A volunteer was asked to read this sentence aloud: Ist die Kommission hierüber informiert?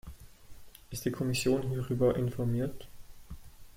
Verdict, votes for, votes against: accepted, 2, 0